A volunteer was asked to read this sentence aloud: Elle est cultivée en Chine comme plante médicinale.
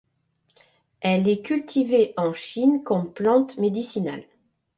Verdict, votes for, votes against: accepted, 2, 0